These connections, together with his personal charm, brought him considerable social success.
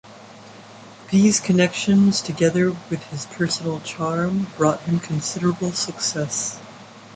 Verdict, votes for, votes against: rejected, 1, 2